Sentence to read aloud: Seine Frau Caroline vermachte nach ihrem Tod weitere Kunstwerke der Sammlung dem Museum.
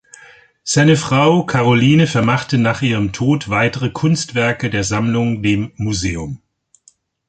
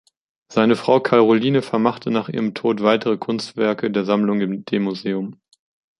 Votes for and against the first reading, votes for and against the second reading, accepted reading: 2, 0, 0, 2, first